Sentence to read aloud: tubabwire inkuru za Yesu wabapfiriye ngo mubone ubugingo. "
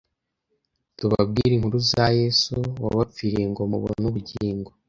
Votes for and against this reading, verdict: 2, 0, accepted